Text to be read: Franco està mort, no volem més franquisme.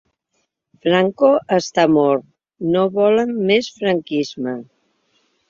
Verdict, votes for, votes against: rejected, 0, 2